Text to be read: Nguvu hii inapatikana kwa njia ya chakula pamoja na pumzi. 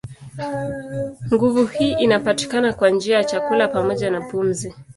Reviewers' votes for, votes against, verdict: 2, 0, accepted